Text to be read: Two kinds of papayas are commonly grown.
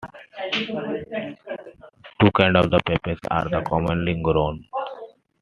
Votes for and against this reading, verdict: 2, 0, accepted